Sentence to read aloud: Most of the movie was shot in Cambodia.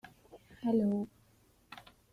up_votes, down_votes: 0, 2